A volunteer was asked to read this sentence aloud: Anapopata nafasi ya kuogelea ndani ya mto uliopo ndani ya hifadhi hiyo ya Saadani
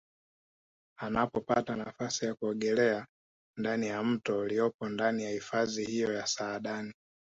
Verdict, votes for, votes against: rejected, 1, 2